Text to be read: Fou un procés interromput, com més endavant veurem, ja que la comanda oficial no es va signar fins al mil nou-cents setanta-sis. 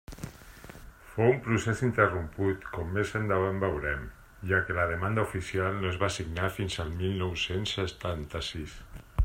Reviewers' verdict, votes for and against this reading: rejected, 1, 2